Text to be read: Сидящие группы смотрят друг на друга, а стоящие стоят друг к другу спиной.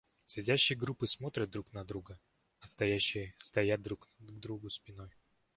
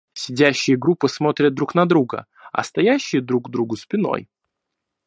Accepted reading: first